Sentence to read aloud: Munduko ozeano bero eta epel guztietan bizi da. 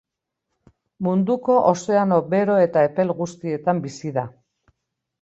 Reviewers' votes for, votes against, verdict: 3, 0, accepted